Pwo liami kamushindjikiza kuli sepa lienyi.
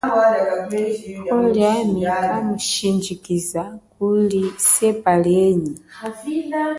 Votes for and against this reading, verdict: 0, 2, rejected